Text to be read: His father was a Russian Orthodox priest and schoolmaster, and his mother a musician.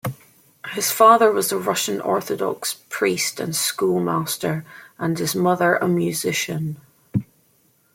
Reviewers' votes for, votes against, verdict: 2, 0, accepted